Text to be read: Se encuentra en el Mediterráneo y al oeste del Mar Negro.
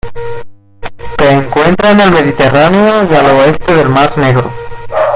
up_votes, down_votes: 2, 0